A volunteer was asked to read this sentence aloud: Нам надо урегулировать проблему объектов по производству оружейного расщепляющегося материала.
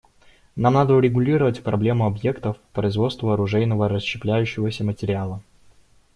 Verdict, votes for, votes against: rejected, 0, 2